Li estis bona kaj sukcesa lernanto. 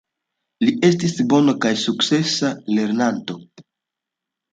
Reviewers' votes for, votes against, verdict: 2, 1, accepted